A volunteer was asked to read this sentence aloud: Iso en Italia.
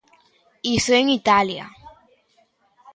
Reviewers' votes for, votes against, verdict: 2, 1, accepted